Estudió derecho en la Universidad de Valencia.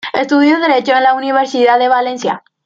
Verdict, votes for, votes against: accepted, 2, 0